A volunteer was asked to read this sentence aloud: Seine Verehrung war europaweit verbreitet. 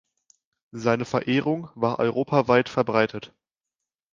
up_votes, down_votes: 2, 0